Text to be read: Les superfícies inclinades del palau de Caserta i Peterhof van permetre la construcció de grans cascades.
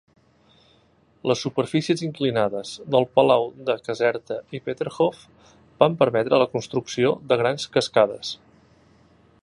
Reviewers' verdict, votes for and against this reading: accepted, 2, 0